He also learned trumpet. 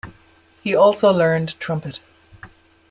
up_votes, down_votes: 2, 0